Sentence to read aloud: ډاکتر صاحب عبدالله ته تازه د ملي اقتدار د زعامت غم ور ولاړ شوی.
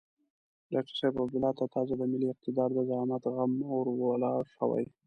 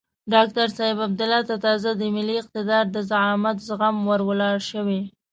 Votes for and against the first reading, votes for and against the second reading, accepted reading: 2, 0, 0, 2, first